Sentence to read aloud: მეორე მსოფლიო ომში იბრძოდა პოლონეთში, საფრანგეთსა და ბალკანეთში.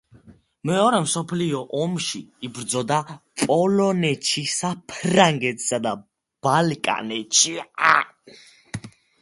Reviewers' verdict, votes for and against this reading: rejected, 1, 2